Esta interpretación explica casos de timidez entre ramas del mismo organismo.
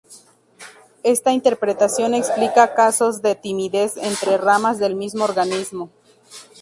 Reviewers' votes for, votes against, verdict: 2, 2, rejected